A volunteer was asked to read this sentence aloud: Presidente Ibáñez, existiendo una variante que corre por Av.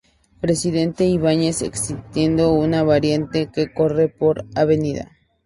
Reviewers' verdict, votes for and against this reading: accepted, 2, 0